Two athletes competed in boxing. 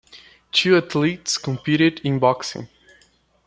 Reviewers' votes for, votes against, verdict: 2, 0, accepted